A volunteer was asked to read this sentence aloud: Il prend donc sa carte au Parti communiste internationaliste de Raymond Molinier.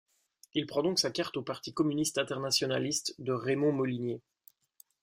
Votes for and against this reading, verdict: 2, 0, accepted